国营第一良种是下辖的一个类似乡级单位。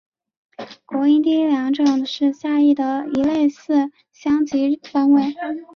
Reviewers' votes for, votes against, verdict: 0, 2, rejected